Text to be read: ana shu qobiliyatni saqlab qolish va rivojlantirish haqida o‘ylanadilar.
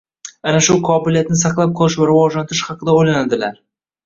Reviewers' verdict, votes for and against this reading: rejected, 1, 2